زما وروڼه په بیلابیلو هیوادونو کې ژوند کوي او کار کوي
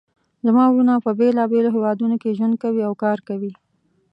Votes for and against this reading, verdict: 2, 0, accepted